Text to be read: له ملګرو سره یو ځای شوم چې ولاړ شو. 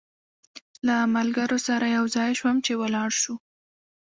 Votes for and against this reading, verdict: 2, 0, accepted